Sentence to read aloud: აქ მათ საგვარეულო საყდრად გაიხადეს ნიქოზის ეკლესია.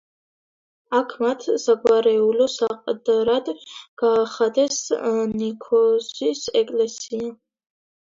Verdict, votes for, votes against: rejected, 0, 2